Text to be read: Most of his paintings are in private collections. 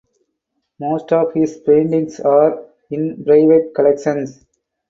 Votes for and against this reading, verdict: 2, 2, rejected